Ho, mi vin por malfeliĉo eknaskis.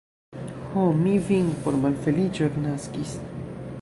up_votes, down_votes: 2, 1